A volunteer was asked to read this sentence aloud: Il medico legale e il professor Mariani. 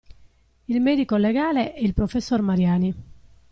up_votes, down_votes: 2, 0